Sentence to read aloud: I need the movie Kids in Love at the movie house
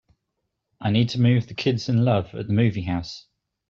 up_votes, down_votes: 1, 2